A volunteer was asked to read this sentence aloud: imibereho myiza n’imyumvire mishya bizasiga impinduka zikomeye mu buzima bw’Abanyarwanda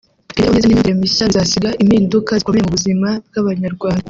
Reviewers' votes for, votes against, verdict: 0, 2, rejected